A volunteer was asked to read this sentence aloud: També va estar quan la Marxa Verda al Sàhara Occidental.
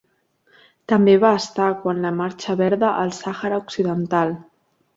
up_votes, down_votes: 2, 0